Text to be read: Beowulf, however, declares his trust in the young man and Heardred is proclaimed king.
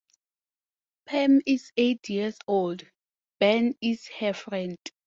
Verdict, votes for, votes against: rejected, 0, 10